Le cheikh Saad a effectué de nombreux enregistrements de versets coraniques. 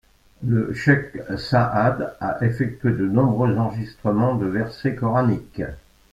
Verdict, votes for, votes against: rejected, 0, 2